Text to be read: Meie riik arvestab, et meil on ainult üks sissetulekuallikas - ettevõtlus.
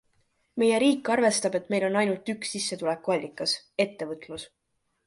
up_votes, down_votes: 2, 0